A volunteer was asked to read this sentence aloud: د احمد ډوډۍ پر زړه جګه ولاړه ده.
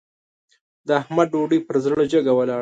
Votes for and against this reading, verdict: 2, 0, accepted